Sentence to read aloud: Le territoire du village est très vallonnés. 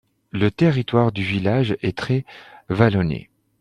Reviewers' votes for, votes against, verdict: 2, 0, accepted